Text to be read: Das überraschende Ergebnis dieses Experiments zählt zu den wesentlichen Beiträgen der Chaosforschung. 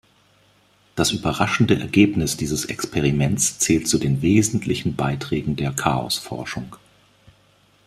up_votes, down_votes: 2, 0